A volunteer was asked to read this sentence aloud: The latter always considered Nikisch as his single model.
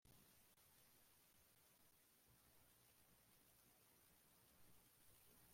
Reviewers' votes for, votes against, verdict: 0, 2, rejected